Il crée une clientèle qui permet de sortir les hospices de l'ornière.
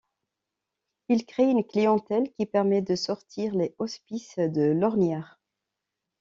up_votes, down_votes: 0, 2